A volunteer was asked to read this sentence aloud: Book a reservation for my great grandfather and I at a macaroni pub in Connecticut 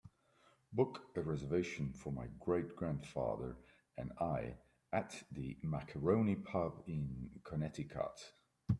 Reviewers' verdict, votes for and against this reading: rejected, 0, 2